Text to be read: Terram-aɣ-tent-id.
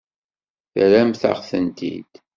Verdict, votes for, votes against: rejected, 0, 2